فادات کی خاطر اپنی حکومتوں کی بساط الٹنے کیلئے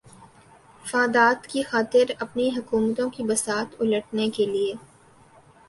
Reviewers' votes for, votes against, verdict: 6, 1, accepted